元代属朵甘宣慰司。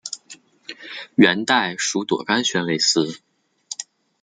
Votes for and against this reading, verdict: 2, 0, accepted